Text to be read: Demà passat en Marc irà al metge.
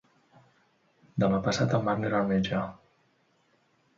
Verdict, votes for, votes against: rejected, 1, 2